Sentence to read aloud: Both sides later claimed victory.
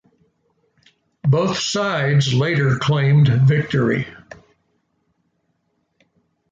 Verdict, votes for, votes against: accepted, 2, 0